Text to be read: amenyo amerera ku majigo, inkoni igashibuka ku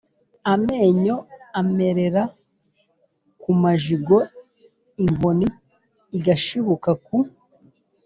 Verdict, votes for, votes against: accepted, 2, 0